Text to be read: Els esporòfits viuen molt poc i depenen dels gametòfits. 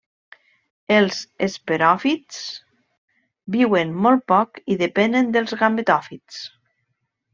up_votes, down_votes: 1, 2